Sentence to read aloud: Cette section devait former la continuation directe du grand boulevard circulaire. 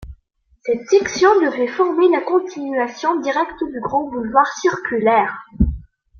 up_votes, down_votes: 2, 0